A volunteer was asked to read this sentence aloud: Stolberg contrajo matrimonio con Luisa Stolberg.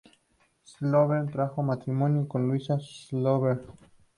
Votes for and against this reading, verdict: 0, 2, rejected